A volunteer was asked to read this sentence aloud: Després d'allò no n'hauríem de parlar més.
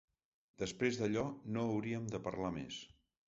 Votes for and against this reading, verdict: 1, 2, rejected